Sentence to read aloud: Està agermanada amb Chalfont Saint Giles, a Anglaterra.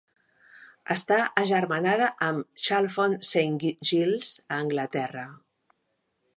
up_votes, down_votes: 1, 3